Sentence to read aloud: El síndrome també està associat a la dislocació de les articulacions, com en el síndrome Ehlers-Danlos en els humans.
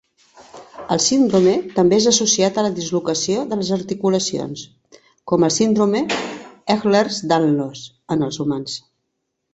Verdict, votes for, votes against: rejected, 2, 3